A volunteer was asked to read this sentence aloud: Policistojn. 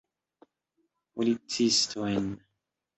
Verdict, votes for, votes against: accepted, 2, 0